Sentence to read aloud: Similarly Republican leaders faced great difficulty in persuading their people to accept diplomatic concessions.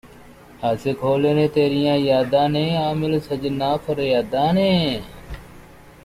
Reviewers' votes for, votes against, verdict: 0, 2, rejected